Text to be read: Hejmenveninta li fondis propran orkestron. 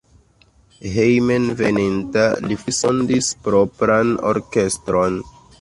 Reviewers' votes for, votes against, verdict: 2, 1, accepted